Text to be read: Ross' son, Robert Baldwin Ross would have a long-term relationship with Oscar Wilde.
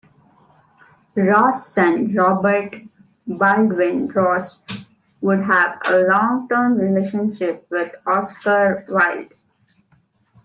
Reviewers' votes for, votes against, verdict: 0, 2, rejected